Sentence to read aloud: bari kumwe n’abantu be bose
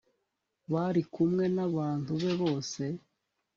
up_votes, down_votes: 2, 0